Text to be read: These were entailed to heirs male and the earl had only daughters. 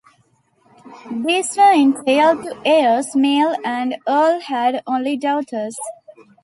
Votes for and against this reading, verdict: 1, 2, rejected